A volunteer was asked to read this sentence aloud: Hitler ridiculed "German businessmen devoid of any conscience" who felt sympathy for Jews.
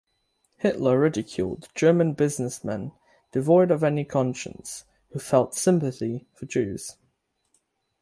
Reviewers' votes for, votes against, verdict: 6, 0, accepted